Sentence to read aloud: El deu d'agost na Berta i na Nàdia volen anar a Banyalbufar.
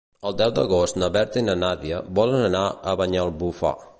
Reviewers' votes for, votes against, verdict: 1, 2, rejected